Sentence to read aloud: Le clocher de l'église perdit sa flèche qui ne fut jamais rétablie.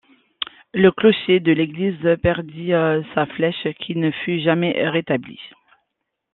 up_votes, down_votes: 2, 1